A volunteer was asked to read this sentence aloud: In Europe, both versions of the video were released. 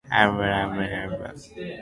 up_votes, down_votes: 0, 2